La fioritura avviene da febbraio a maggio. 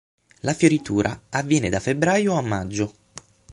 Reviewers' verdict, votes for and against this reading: accepted, 9, 0